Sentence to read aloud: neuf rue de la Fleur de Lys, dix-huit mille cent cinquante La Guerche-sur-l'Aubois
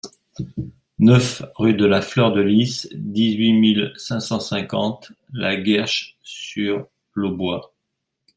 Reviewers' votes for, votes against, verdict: 1, 2, rejected